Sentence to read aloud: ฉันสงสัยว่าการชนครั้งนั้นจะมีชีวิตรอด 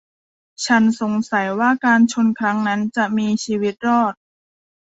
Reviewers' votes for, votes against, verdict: 2, 0, accepted